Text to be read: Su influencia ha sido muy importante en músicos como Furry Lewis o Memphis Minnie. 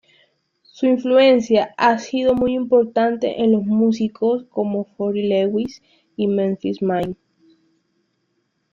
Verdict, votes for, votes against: rejected, 1, 2